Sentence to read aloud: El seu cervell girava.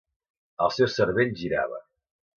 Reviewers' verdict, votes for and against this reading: accepted, 2, 0